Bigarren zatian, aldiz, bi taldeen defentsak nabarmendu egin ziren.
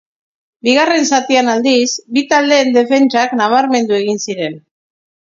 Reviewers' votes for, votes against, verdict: 2, 0, accepted